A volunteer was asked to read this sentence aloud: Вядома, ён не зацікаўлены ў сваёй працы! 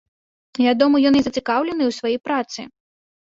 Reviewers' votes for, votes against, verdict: 2, 0, accepted